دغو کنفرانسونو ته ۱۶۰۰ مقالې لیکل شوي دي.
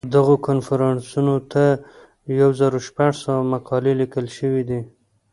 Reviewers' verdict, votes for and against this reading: rejected, 0, 2